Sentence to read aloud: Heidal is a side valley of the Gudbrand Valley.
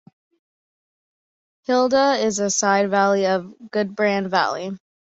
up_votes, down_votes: 1, 2